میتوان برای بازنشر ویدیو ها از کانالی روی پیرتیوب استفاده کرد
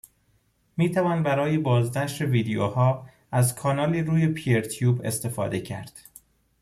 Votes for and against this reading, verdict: 2, 0, accepted